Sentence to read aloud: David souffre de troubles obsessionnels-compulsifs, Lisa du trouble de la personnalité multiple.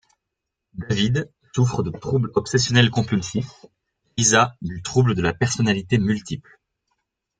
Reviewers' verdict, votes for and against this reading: accepted, 2, 0